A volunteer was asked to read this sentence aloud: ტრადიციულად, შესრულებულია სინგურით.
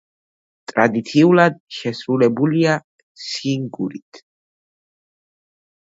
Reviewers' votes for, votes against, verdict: 2, 0, accepted